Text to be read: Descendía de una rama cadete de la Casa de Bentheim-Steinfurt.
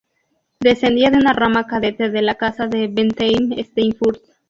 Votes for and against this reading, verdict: 2, 0, accepted